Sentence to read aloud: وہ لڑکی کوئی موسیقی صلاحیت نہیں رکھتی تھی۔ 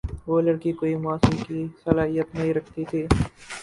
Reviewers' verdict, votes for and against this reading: rejected, 2, 2